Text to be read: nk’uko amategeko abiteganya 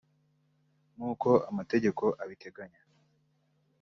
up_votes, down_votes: 2, 0